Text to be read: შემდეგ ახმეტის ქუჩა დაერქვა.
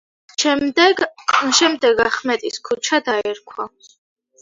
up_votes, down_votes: 0, 2